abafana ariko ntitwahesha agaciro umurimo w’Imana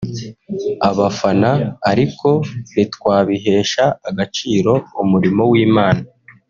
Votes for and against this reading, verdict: 0, 2, rejected